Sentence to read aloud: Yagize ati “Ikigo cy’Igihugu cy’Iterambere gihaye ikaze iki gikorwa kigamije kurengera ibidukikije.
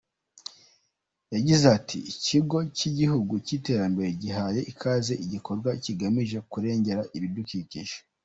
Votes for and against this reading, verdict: 2, 0, accepted